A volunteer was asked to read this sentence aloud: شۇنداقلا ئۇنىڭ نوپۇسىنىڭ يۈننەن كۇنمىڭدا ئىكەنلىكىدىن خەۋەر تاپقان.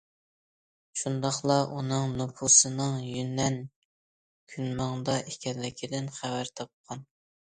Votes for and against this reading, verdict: 2, 0, accepted